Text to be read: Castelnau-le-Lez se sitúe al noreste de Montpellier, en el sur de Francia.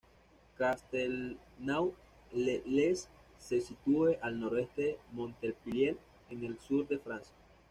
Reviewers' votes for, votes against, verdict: 2, 0, accepted